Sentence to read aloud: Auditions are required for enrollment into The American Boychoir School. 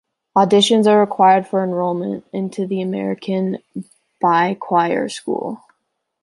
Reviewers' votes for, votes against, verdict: 2, 0, accepted